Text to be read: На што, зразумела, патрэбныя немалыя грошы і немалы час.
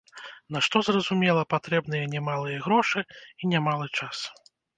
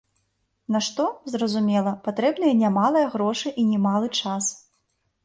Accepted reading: second